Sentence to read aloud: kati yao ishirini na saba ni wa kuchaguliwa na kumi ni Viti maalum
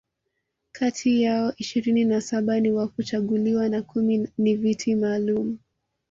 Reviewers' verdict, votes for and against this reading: accepted, 2, 0